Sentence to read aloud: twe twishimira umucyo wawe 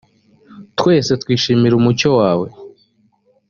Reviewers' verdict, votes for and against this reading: rejected, 1, 2